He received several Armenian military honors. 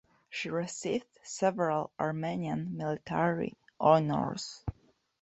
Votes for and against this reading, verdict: 0, 2, rejected